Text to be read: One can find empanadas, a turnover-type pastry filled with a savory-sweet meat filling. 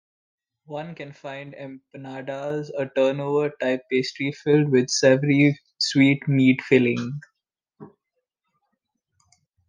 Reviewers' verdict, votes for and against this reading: accepted, 2, 1